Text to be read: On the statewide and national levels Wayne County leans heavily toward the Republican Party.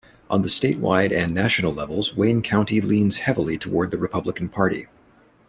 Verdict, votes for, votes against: rejected, 0, 2